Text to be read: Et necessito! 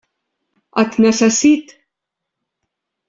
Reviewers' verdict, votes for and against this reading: rejected, 0, 2